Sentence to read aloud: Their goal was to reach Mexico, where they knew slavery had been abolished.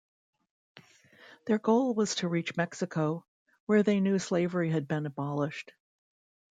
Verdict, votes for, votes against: accepted, 2, 0